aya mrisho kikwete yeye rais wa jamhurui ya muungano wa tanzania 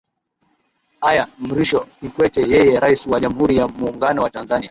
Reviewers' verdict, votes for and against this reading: rejected, 0, 2